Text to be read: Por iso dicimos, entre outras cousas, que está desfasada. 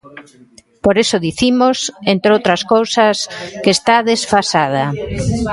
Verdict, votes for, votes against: rejected, 1, 2